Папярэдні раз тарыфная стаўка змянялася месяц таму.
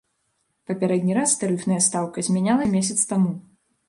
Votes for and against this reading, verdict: 0, 2, rejected